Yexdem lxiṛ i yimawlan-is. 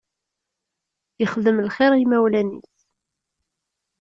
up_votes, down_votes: 0, 2